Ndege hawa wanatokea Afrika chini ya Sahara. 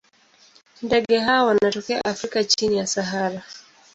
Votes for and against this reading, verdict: 2, 0, accepted